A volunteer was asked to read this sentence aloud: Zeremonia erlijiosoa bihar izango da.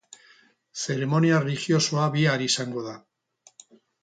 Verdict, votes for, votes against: rejected, 2, 4